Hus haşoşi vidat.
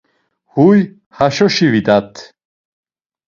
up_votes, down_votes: 2, 1